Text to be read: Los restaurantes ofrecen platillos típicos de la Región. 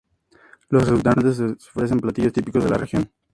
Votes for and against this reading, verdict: 2, 0, accepted